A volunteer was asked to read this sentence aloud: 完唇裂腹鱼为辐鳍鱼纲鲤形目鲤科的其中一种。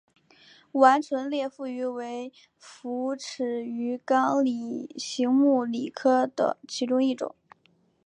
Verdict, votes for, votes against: accepted, 3, 1